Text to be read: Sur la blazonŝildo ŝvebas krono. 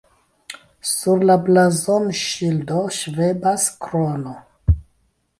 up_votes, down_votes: 2, 0